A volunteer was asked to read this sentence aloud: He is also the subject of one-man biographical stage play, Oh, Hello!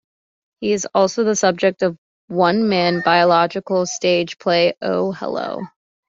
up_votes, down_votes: 2, 1